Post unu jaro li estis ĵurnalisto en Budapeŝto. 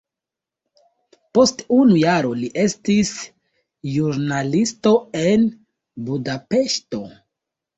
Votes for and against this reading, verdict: 0, 2, rejected